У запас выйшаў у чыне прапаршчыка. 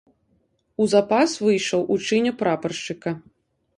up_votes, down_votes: 2, 0